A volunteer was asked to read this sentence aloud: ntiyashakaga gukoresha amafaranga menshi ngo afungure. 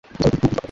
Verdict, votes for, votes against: rejected, 1, 3